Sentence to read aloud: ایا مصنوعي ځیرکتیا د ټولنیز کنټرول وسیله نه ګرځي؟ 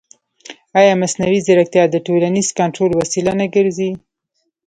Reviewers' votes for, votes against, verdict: 0, 2, rejected